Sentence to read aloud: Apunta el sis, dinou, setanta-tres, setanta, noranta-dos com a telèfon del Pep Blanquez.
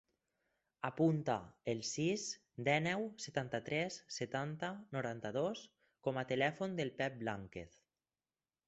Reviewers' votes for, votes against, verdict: 0, 4, rejected